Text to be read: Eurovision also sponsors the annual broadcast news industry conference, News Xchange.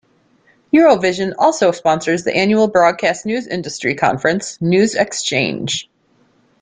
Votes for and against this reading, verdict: 2, 0, accepted